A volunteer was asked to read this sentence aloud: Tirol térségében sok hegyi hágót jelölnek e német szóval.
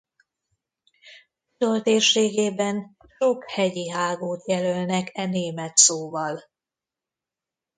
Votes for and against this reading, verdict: 1, 2, rejected